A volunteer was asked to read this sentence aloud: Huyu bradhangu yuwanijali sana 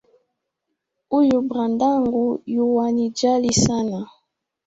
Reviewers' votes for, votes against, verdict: 3, 0, accepted